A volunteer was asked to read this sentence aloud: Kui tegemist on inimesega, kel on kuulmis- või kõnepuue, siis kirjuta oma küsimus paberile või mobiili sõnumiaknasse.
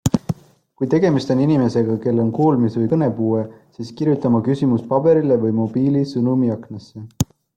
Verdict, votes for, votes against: accepted, 2, 0